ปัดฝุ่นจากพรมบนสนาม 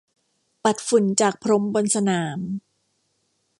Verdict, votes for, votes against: accepted, 2, 0